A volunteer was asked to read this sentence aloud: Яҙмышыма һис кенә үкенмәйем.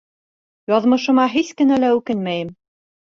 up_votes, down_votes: 1, 2